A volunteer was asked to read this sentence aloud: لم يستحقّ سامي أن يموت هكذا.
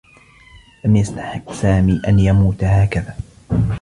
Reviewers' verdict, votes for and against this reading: accepted, 2, 1